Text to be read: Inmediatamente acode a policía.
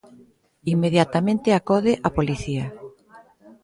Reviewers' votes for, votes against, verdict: 0, 2, rejected